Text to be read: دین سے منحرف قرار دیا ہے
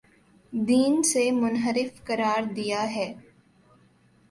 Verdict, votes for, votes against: accepted, 3, 0